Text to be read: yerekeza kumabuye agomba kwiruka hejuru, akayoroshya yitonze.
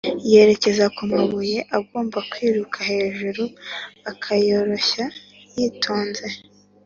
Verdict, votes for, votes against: accepted, 2, 0